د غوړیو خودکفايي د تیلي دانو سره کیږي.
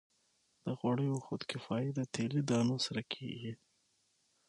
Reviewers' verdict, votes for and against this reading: accepted, 6, 0